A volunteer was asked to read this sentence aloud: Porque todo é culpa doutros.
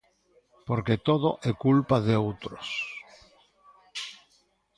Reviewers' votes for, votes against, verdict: 0, 2, rejected